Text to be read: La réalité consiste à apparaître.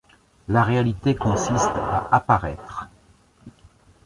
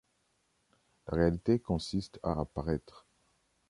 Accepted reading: first